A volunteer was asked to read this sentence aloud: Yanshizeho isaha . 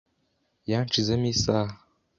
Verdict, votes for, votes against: rejected, 1, 2